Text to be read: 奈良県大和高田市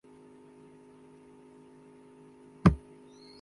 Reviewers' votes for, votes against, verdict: 0, 2, rejected